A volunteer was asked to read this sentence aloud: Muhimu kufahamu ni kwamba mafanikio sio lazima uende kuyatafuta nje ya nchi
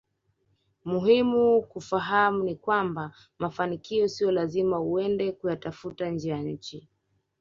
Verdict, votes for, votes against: accepted, 3, 0